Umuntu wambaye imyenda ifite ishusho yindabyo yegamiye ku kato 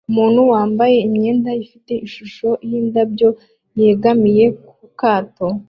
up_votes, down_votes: 2, 0